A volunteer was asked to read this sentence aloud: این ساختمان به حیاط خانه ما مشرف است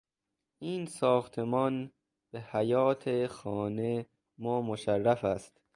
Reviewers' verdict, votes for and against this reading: rejected, 0, 2